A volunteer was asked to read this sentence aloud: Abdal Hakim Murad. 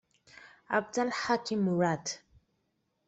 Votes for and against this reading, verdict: 2, 0, accepted